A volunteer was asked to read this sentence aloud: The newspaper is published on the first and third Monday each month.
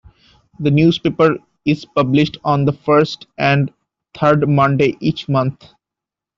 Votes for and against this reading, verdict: 2, 0, accepted